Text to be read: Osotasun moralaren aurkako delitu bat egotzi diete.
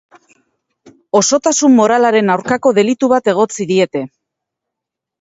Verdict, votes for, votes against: accepted, 4, 0